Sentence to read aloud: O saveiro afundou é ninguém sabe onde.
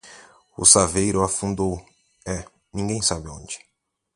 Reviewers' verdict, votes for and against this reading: accepted, 4, 0